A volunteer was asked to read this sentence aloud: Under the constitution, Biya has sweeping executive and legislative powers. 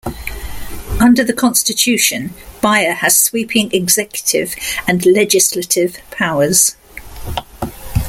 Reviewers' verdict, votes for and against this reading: accepted, 2, 0